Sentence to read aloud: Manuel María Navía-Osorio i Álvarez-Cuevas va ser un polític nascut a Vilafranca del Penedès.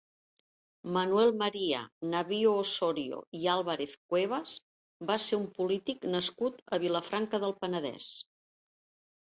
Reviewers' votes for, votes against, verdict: 1, 2, rejected